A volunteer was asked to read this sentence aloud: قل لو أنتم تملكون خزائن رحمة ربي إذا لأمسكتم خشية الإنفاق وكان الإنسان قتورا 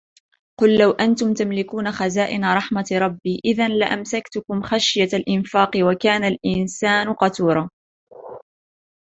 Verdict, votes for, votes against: rejected, 0, 2